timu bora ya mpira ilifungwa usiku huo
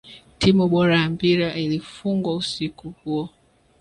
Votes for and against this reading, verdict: 2, 1, accepted